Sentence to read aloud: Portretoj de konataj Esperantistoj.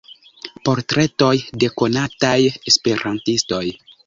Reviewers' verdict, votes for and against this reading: rejected, 0, 2